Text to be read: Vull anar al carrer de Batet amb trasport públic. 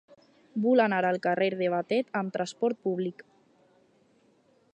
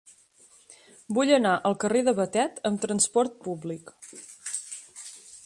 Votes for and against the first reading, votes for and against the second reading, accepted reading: 0, 4, 4, 0, second